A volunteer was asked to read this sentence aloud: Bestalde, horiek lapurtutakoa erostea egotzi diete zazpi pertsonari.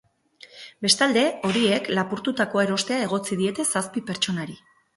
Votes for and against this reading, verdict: 4, 0, accepted